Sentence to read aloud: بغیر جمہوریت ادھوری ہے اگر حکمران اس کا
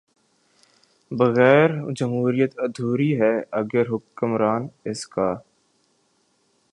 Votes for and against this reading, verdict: 2, 3, rejected